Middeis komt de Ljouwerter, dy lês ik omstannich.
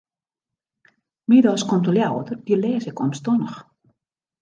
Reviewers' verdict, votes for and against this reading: rejected, 1, 2